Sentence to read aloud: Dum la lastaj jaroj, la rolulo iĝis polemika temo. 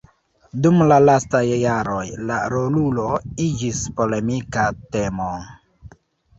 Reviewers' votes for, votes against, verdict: 1, 2, rejected